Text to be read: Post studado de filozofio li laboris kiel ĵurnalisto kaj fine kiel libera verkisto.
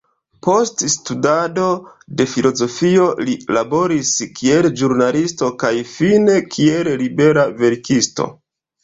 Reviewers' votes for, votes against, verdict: 1, 2, rejected